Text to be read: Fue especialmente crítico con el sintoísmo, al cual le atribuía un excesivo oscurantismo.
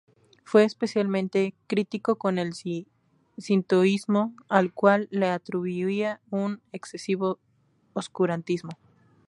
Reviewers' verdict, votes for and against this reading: rejected, 2, 2